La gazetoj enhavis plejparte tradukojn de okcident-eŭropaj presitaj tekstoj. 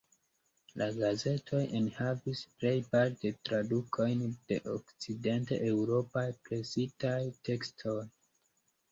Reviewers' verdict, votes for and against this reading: accepted, 2, 0